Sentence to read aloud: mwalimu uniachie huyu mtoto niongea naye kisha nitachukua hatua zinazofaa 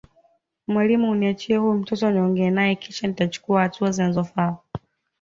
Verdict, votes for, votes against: accepted, 2, 0